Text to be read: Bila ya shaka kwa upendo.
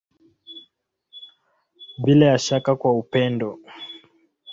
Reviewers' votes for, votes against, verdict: 2, 0, accepted